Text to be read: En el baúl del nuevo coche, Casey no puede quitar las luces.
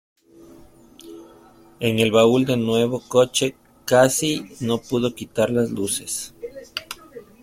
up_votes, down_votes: 0, 2